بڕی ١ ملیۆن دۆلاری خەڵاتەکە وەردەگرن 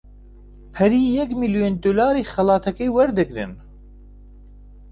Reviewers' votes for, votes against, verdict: 0, 2, rejected